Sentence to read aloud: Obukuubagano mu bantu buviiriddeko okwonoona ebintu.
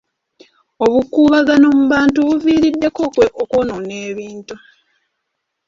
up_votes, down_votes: 2, 1